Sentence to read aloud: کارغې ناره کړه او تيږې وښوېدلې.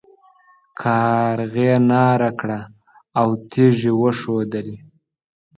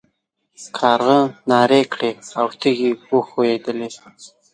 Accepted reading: first